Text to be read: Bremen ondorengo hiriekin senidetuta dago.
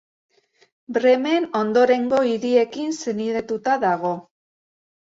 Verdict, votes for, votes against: accepted, 2, 0